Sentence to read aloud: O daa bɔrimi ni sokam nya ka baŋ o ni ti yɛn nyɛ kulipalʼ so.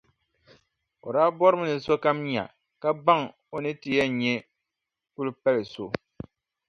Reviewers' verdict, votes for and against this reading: accepted, 2, 0